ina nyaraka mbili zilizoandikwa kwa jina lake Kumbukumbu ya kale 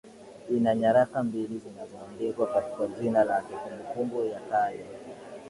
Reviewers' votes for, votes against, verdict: 1, 2, rejected